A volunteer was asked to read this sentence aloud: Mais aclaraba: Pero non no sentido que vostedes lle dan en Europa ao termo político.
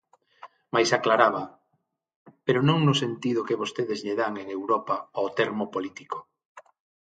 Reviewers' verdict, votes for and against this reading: accepted, 6, 0